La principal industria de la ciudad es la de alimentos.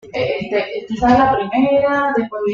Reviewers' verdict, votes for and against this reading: rejected, 1, 2